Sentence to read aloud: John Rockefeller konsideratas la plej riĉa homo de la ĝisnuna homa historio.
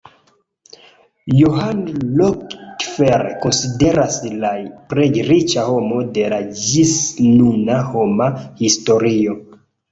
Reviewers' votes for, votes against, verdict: 1, 2, rejected